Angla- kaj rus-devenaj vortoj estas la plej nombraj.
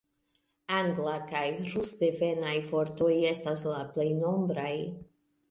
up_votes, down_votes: 3, 1